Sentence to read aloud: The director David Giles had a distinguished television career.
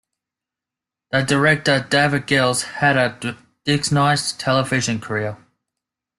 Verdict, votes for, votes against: rejected, 0, 2